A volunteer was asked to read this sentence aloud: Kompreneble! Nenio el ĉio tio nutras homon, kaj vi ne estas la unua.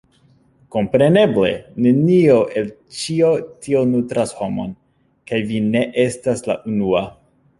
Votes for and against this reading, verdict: 0, 2, rejected